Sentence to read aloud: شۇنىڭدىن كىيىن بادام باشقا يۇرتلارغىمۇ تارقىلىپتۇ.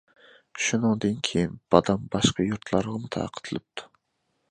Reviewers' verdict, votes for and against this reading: rejected, 0, 2